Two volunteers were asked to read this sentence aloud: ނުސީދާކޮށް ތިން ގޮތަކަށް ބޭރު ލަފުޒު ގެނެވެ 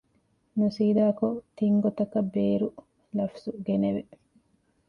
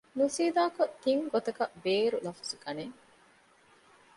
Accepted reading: first